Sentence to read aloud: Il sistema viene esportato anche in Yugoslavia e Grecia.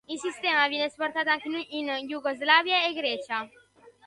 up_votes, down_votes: 1, 2